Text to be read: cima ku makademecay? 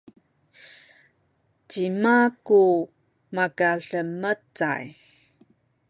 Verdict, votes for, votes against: accepted, 2, 0